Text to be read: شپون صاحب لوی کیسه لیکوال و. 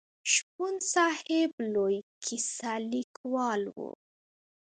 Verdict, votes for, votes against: rejected, 0, 2